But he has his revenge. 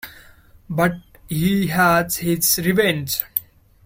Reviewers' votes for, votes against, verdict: 0, 2, rejected